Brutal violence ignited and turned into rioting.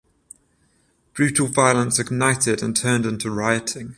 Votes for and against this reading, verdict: 0, 7, rejected